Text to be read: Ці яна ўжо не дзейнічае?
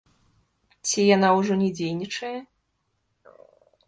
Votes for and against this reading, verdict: 0, 2, rejected